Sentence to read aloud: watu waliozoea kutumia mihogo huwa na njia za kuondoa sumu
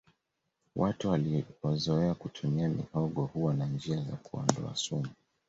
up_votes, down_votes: 1, 2